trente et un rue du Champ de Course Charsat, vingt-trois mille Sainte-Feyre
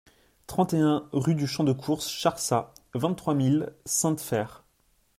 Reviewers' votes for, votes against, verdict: 2, 0, accepted